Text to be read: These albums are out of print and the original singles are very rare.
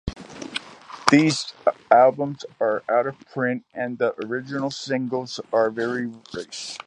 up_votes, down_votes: 2, 1